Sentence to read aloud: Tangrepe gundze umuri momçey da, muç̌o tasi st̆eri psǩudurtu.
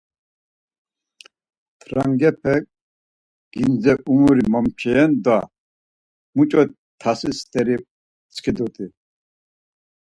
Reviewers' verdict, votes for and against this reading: rejected, 2, 4